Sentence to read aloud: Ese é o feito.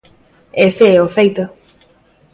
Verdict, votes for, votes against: accepted, 2, 0